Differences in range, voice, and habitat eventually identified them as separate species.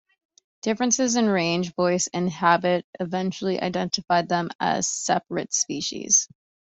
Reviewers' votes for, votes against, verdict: 1, 2, rejected